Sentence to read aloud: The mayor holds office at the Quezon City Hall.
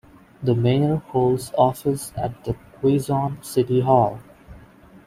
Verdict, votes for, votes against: accepted, 2, 0